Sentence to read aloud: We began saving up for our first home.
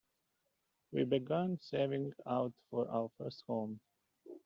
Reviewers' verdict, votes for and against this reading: rejected, 0, 2